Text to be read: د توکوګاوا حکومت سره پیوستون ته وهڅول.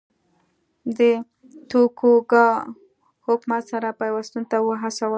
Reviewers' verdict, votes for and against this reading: accepted, 2, 0